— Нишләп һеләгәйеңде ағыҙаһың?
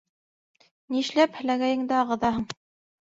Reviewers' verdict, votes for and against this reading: accepted, 2, 0